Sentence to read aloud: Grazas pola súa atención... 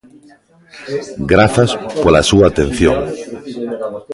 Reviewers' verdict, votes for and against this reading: rejected, 1, 2